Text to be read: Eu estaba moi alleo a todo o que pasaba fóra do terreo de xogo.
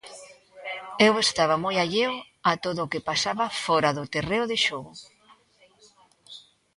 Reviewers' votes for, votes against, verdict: 2, 0, accepted